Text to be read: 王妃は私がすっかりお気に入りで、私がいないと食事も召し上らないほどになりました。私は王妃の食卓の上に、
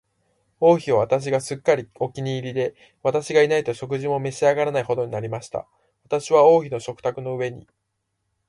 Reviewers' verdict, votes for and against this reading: rejected, 1, 2